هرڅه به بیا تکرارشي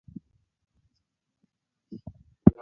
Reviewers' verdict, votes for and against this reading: rejected, 2, 3